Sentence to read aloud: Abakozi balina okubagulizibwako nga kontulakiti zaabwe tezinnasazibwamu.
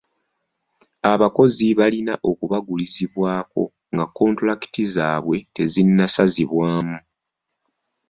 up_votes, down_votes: 2, 0